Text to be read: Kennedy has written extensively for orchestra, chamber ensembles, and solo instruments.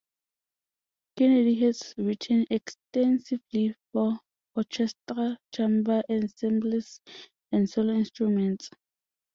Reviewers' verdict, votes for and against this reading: rejected, 0, 2